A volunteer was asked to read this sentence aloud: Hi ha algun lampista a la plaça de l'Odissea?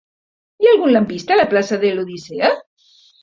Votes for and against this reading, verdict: 3, 0, accepted